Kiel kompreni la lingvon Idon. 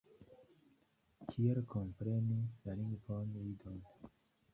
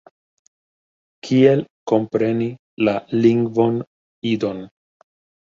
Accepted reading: second